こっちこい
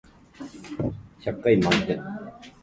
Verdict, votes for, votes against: rejected, 0, 2